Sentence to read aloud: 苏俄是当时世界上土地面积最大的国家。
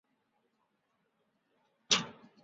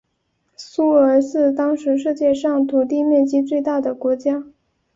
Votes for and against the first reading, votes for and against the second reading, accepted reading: 1, 4, 2, 0, second